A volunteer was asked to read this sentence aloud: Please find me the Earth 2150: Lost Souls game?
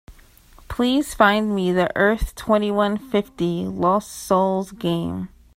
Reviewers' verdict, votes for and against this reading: rejected, 0, 2